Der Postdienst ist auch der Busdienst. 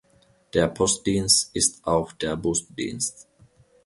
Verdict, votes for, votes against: accepted, 2, 0